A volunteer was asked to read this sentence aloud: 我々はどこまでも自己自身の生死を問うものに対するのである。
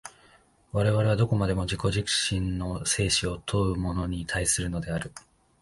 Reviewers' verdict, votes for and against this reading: accepted, 2, 1